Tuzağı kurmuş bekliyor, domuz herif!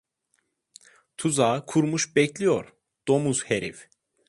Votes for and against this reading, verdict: 2, 0, accepted